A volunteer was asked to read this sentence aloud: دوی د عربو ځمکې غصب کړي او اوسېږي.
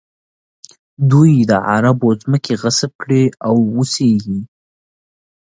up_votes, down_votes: 2, 0